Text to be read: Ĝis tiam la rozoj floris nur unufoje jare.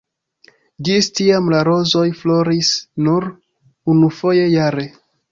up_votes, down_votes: 2, 0